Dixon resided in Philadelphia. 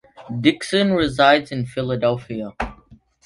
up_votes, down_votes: 1, 2